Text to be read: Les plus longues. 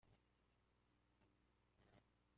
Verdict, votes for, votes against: rejected, 0, 2